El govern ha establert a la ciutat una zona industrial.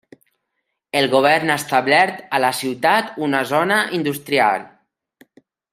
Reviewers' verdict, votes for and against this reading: accepted, 2, 0